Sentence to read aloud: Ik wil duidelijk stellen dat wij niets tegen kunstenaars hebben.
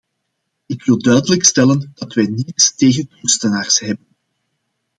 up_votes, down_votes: 1, 2